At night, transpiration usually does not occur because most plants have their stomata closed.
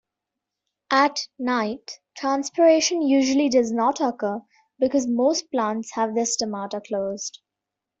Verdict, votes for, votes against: accepted, 2, 0